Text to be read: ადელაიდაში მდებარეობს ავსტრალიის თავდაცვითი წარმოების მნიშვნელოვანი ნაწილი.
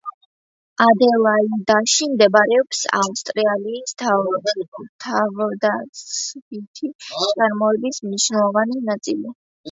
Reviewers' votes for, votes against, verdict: 0, 2, rejected